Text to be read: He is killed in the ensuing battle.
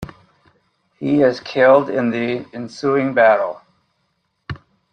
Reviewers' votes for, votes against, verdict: 2, 0, accepted